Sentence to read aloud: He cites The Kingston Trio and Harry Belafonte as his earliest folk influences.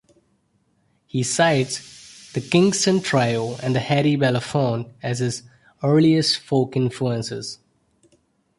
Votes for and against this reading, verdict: 2, 1, accepted